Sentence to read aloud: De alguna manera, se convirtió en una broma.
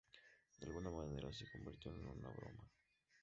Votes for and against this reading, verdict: 2, 0, accepted